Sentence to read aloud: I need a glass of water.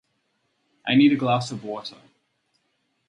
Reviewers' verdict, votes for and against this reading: accepted, 4, 2